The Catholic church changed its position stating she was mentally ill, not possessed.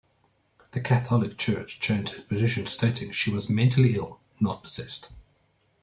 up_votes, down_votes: 1, 2